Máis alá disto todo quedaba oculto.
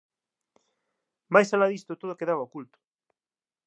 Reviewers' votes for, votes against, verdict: 2, 1, accepted